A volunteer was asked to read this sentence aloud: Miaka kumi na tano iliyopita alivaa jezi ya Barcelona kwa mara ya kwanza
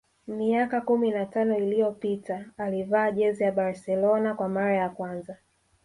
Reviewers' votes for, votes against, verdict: 3, 0, accepted